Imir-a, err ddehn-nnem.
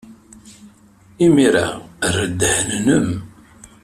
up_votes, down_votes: 2, 0